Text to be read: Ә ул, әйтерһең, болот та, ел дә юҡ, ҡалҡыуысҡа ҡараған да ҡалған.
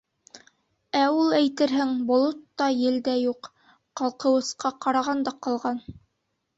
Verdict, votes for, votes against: accepted, 3, 0